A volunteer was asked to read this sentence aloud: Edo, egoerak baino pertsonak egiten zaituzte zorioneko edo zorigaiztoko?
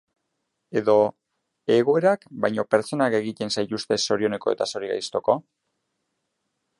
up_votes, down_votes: 0, 2